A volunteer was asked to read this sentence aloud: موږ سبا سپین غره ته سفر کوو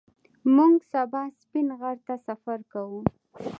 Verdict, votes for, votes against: accepted, 2, 0